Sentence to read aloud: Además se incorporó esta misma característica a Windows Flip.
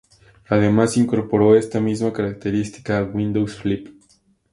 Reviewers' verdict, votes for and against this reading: accepted, 2, 0